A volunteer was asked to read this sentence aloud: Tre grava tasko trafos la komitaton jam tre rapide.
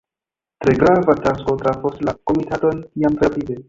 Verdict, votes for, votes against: rejected, 2, 3